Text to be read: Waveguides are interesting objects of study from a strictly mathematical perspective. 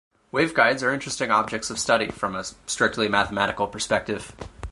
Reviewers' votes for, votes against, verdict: 0, 4, rejected